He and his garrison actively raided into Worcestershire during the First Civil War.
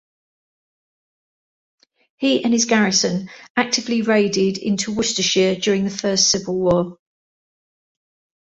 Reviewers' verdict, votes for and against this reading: accepted, 2, 0